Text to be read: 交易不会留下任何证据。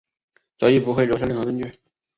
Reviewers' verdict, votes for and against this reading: accepted, 2, 0